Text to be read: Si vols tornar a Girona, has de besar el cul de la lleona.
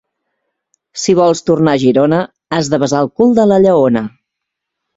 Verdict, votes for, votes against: accepted, 2, 0